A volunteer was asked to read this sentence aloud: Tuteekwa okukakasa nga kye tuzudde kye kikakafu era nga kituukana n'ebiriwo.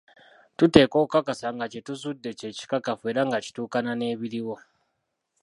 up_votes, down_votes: 0, 2